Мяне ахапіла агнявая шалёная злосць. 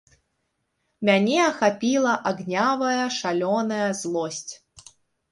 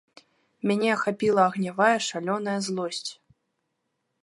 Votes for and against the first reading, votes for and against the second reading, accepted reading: 0, 3, 2, 0, second